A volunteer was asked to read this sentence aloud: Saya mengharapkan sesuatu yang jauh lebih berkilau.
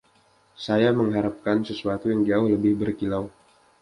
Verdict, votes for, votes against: accepted, 2, 0